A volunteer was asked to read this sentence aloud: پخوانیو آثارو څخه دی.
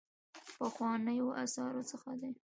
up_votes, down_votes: 2, 1